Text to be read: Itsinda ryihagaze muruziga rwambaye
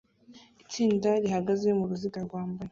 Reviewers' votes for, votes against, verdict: 1, 2, rejected